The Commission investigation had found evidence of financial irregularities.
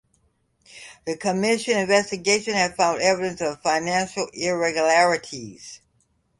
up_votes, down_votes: 2, 0